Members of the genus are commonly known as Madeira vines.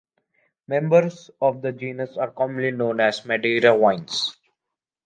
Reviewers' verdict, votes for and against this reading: rejected, 1, 2